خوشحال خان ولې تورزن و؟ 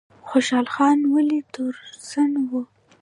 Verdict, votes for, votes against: rejected, 1, 2